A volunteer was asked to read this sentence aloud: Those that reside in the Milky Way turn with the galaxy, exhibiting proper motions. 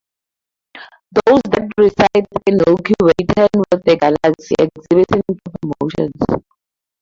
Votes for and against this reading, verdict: 0, 2, rejected